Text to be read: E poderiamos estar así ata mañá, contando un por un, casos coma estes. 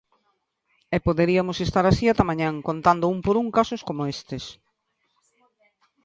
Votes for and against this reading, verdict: 0, 2, rejected